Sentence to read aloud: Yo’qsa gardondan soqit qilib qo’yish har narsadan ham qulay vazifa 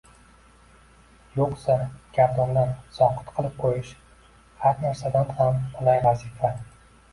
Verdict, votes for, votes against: rejected, 0, 2